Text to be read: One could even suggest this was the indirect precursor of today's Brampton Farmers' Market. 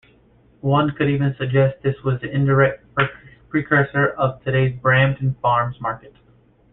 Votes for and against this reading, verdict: 1, 2, rejected